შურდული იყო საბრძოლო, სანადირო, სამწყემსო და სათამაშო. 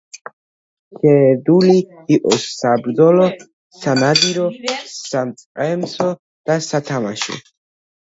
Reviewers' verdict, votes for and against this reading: rejected, 0, 2